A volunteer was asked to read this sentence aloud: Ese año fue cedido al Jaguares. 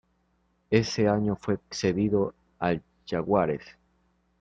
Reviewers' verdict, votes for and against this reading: rejected, 1, 2